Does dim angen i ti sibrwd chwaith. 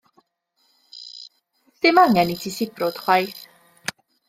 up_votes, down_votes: 0, 2